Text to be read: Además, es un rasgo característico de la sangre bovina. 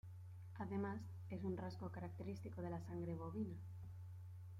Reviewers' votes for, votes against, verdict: 1, 2, rejected